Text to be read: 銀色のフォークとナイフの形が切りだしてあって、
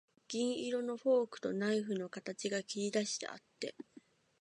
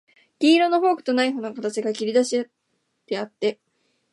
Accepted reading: first